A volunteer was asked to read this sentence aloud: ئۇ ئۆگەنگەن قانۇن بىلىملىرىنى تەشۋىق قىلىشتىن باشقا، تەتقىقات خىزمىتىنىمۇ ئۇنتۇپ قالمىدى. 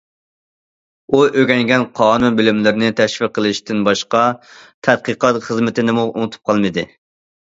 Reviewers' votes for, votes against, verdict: 2, 0, accepted